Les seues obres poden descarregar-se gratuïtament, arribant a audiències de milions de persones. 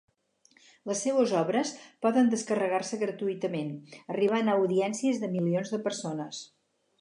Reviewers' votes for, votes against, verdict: 4, 0, accepted